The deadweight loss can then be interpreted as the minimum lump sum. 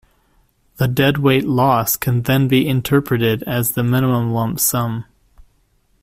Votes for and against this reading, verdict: 2, 0, accepted